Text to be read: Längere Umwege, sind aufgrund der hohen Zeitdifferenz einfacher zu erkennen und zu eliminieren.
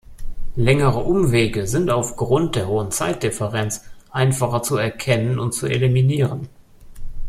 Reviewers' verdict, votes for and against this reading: accepted, 2, 0